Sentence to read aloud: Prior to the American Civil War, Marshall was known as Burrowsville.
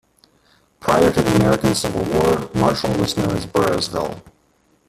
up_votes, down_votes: 0, 2